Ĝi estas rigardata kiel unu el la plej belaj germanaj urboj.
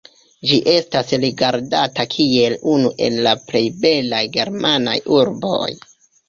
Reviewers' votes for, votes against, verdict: 2, 0, accepted